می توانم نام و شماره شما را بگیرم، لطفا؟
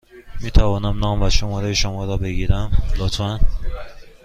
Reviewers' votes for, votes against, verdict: 2, 0, accepted